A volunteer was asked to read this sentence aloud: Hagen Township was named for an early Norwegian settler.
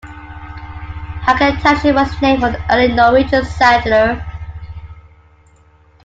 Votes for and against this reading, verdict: 2, 0, accepted